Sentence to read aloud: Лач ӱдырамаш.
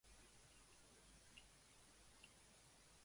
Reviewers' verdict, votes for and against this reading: rejected, 0, 2